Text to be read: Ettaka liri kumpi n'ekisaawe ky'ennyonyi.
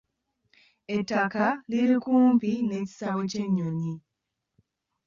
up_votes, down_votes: 2, 1